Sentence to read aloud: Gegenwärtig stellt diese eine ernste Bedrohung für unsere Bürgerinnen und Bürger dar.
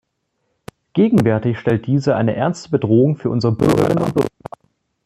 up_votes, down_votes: 0, 2